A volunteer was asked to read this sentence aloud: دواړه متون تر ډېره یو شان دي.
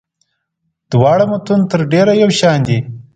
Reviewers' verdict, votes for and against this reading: accepted, 2, 0